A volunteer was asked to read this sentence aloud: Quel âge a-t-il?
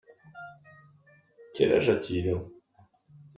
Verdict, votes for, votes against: accepted, 2, 0